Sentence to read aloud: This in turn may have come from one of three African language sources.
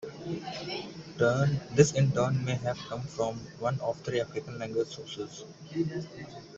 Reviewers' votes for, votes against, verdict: 2, 1, accepted